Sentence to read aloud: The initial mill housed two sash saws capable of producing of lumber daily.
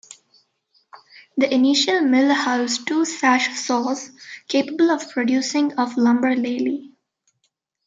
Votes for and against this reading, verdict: 2, 0, accepted